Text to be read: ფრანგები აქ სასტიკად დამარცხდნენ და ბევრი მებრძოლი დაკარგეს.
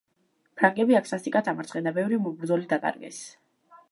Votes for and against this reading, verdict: 1, 2, rejected